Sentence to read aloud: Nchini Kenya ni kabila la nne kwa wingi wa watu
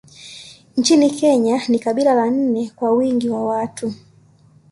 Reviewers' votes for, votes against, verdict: 2, 0, accepted